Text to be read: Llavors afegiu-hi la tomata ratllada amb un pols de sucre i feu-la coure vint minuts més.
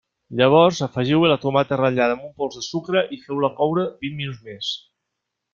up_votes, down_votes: 1, 2